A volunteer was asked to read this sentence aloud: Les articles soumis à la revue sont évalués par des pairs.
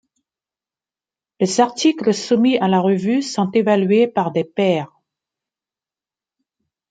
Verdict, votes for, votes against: accepted, 2, 0